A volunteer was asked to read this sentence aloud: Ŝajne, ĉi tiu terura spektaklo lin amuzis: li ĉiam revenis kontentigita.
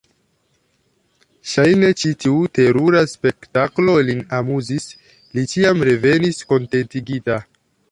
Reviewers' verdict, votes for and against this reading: accepted, 2, 0